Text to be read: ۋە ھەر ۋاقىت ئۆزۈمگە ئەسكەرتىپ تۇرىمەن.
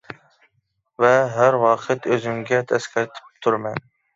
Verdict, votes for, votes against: rejected, 1, 2